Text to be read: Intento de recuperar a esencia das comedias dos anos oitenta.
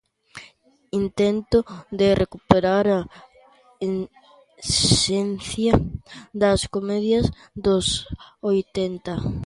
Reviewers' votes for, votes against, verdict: 0, 2, rejected